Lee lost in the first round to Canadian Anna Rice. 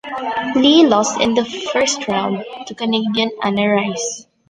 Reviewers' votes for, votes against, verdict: 1, 2, rejected